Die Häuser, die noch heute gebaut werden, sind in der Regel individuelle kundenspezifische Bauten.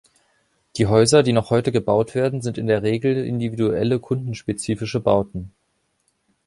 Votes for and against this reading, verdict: 2, 0, accepted